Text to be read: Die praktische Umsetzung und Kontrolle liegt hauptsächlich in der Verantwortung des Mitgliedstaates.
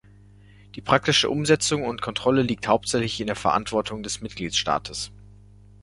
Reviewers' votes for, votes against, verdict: 1, 2, rejected